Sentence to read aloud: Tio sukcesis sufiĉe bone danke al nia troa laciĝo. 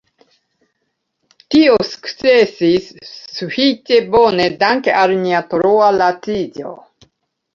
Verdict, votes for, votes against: rejected, 1, 2